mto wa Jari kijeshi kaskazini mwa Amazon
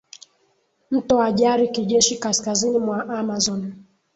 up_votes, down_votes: 2, 0